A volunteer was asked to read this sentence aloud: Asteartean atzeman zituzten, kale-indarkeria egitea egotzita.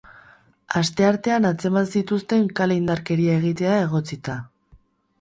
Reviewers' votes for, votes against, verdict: 2, 2, rejected